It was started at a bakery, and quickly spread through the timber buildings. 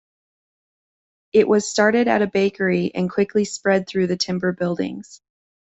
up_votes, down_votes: 2, 0